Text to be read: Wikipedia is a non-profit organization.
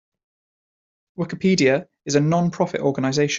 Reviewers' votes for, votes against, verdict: 2, 0, accepted